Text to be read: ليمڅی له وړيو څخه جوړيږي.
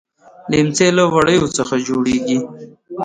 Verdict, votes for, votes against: rejected, 1, 2